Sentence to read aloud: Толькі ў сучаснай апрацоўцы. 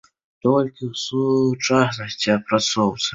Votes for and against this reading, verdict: 0, 2, rejected